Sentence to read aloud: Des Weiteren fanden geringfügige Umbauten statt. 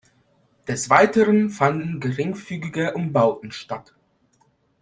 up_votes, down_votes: 2, 0